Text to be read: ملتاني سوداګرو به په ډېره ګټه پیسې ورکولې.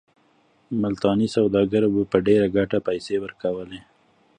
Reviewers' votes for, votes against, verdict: 2, 0, accepted